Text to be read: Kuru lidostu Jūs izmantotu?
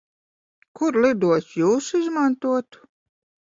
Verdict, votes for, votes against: accepted, 2, 0